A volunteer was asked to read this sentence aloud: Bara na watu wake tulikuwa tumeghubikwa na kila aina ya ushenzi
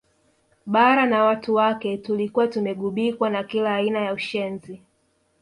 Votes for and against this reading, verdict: 2, 1, accepted